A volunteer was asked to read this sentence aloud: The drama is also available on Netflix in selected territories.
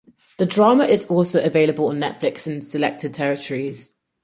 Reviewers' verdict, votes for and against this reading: accepted, 4, 0